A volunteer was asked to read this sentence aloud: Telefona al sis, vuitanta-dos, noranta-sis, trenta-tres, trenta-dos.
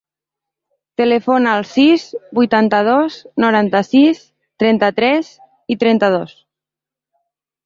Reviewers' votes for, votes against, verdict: 0, 2, rejected